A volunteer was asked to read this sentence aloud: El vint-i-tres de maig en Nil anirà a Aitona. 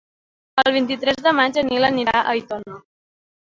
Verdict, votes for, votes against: accepted, 2, 0